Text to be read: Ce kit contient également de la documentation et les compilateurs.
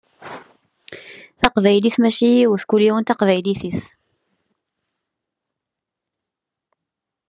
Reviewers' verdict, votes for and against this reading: rejected, 0, 2